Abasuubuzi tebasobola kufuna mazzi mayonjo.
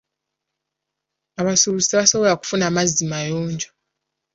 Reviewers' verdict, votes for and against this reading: accepted, 2, 0